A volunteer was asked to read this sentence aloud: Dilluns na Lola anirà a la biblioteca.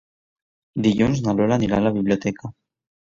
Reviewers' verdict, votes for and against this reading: accepted, 2, 1